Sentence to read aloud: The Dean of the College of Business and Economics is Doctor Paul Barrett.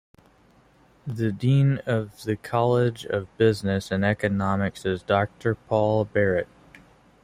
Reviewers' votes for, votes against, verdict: 2, 0, accepted